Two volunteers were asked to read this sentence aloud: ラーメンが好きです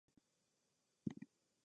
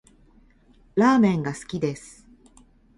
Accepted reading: second